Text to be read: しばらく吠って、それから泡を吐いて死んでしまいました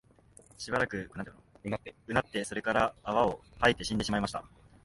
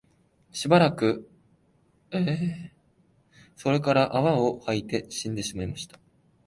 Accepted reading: first